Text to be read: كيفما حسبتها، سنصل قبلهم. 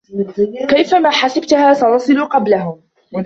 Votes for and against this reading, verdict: 2, 1, accepted